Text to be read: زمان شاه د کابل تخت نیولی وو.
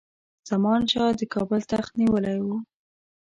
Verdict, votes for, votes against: rejected, 0, 2